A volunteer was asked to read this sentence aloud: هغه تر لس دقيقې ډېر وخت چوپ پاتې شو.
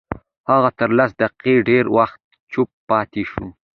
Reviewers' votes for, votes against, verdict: 2, 0, accepted